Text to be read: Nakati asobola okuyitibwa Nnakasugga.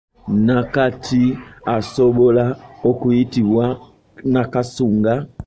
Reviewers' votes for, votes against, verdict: 0, 2, rejected